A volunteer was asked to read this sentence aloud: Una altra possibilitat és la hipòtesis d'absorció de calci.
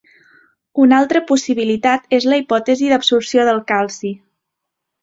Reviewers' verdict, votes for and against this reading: rejected, 0, 2